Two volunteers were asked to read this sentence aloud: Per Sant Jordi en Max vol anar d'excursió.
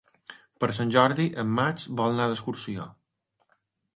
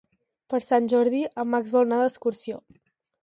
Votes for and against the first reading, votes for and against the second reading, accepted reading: 3, 0, 2, 4, first